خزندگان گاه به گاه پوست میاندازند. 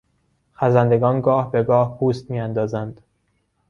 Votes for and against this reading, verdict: 2, 1, accepted